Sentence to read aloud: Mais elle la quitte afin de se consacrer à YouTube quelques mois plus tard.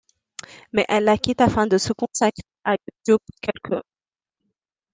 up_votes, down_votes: 0, 2